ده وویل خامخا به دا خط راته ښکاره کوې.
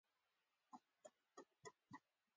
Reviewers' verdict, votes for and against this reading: accepted, 2, 1